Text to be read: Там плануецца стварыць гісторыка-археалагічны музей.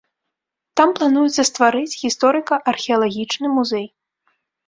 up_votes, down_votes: 0, 2